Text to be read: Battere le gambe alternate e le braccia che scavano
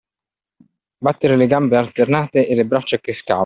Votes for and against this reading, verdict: 1, 2, rejected